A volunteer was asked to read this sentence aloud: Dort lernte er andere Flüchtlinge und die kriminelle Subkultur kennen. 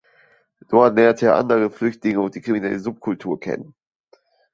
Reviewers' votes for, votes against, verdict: 2, 0, accepted